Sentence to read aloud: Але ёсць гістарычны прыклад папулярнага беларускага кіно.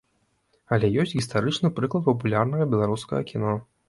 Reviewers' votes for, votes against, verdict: 2, 0, accepted